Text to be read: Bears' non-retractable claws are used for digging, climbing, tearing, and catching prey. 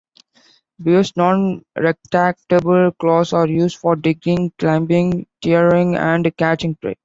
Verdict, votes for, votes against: accepted, 2, 1